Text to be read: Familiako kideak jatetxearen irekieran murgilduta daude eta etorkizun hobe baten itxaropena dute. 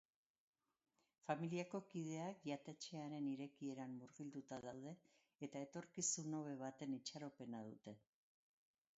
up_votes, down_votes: 2, 0